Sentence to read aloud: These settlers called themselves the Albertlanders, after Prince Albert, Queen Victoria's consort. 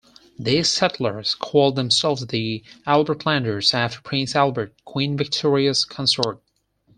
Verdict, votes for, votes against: rejected, 0, 4